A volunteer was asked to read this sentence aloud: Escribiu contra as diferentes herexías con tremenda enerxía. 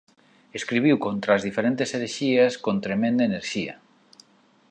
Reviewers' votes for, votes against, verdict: 2, 0, accepted